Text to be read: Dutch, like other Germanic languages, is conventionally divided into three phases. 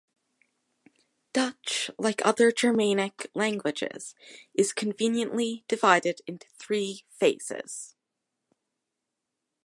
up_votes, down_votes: 0, 2